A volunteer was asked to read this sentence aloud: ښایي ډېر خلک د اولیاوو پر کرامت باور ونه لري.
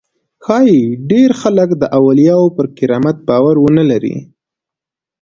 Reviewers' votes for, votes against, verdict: 2, 0, accepted